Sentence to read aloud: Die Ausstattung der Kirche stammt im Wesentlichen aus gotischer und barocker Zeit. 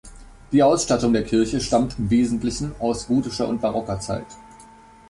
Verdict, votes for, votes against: accepted, 2, 0